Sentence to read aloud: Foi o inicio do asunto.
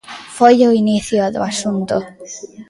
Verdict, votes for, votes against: rejected, 0, 2